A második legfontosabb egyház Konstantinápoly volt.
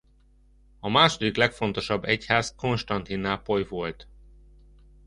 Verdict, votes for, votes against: accepted, 2, 0